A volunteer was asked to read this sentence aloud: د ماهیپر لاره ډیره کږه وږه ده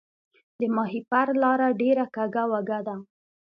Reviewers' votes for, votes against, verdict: 2, 0, accepted